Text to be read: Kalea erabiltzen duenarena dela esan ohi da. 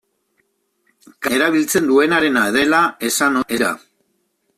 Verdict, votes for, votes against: rejected, 0, 2